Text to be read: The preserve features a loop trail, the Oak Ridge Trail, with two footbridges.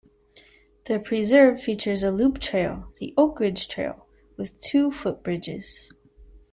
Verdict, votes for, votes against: accepted, 2, 0